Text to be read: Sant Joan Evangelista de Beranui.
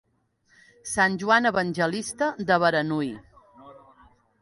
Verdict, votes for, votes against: accepted, 2, 0